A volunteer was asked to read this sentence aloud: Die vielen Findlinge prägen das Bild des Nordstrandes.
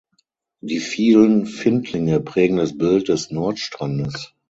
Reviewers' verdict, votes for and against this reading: accepted, 6, 0